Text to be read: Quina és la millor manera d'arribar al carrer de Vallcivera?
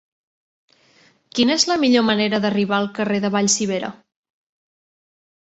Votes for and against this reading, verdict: 2, 0, accepted